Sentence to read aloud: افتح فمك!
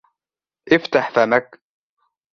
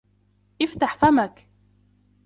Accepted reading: first